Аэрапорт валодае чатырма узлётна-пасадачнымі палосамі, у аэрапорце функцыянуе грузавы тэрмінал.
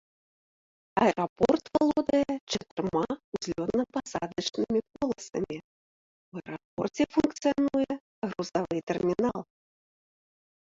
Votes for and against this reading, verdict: 0, 2, rejected